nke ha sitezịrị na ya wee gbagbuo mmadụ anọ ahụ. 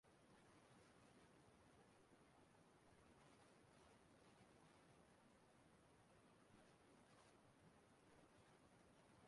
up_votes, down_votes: 0, 6